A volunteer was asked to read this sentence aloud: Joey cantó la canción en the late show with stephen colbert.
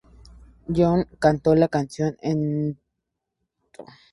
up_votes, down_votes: 2, 2